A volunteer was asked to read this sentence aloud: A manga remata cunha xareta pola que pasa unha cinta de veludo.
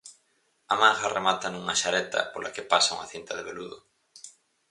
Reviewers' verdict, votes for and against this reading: rejected, 0, 4